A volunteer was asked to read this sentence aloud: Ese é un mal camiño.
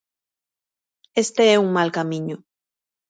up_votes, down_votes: 1, 2